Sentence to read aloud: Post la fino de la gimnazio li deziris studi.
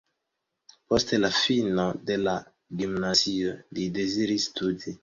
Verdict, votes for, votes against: accepted, 2, 0